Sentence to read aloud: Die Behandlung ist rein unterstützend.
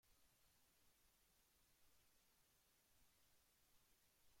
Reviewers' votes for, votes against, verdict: 0, 2, rejected